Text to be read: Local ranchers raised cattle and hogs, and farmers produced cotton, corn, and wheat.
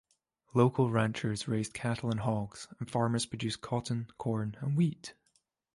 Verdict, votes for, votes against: accepted, 2, 0